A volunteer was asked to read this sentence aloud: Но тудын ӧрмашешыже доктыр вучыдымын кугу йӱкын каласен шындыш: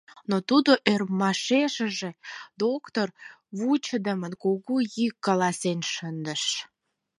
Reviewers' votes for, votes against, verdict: 0, 4, rejected